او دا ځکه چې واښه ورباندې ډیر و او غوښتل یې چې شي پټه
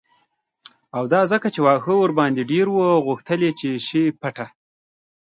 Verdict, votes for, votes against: accepted, 2, 0